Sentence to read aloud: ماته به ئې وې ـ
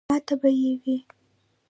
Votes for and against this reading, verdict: 2, 1, accepted